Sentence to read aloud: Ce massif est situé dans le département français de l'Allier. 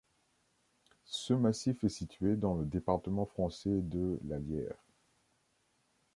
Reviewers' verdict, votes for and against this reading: rejected, 0, 2